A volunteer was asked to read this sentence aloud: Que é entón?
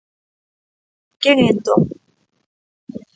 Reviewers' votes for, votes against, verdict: 0, 2, rejected